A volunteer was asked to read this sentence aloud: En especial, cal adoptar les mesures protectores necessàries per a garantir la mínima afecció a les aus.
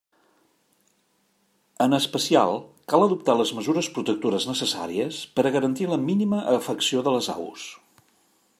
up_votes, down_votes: 1, 2